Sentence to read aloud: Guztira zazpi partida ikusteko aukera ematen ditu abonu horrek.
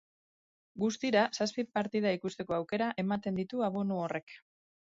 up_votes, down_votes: 2, 0